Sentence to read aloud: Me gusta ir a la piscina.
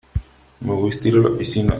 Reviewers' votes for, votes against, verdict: 3, 1, accepted